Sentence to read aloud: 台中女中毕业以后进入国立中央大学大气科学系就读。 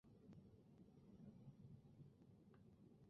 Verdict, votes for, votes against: rejected, 2, 5